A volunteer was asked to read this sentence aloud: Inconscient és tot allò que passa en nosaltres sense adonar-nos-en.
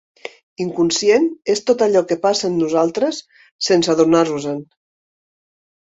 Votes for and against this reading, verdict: 3, 0, accepted